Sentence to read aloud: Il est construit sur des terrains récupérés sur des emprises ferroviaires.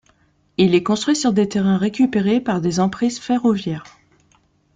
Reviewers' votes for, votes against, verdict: 0, 2, rejected